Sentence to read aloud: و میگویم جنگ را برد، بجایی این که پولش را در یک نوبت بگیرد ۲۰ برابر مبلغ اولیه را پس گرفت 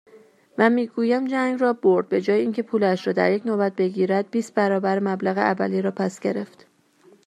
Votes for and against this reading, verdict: 0, 2, rejected